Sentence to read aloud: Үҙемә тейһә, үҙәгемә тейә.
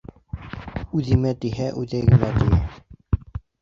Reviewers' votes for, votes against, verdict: 1, 2, rejected